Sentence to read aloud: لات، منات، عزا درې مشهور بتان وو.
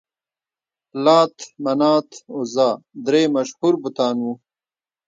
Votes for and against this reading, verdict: 1, 2, rejected